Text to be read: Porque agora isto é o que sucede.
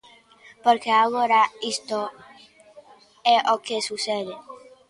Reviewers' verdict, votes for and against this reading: rejected, 1, 2